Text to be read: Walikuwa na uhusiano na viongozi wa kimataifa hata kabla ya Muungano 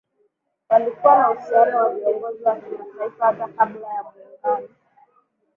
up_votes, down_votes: 2, 0